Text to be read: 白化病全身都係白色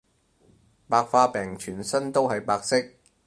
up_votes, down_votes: 4, 0